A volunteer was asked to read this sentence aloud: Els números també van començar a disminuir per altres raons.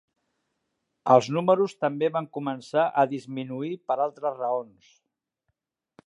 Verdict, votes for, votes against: accepted, 3, 0